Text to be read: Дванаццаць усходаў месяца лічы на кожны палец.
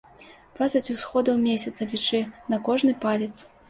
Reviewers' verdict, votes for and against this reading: rejected, 0, 2